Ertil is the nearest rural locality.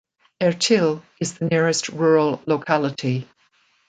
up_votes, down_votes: 0, 2